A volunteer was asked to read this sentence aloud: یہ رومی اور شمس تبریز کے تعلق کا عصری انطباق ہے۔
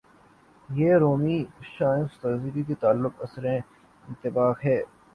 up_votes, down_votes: 0, 3